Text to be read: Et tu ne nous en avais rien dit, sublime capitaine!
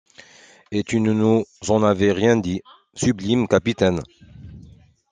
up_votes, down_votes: 0, 2